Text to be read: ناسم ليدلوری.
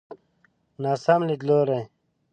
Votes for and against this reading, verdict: 2, 0, accepted